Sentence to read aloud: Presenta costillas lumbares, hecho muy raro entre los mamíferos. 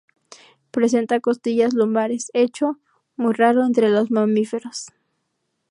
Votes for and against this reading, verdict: 0, 2, rejected